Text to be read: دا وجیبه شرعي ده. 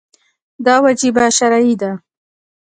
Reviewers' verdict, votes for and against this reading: accepted, 2, 0